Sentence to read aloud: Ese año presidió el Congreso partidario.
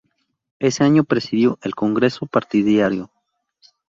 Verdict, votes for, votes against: accepted, 2, 0